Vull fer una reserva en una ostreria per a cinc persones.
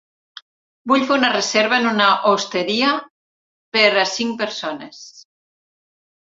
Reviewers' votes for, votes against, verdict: 0, 2, rejected